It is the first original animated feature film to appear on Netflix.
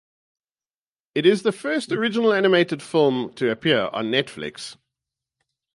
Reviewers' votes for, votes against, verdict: 0, 4, rejected